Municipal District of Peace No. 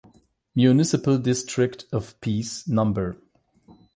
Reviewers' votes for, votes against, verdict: 4, 8, rejected